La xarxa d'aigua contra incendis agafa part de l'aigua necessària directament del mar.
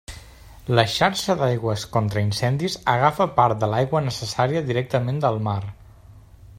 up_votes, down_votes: 0, 2